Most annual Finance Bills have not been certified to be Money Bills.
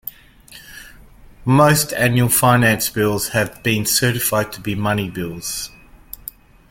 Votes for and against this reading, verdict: 2, 0, accepted